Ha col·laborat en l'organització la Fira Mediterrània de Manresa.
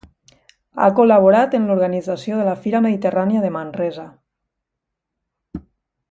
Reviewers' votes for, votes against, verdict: 2, 0, accepted